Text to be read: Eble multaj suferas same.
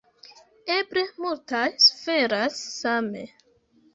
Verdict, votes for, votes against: rejected, 2, 3